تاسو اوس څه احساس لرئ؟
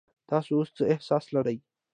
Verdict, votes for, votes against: accepted, 2, 0